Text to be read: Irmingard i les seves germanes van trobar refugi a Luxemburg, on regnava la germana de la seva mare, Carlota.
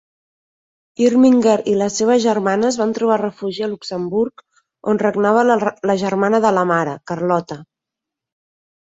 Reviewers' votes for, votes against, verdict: 1, 2, rejected